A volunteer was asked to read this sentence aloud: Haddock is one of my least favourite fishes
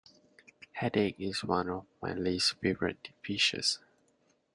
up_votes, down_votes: 1, 2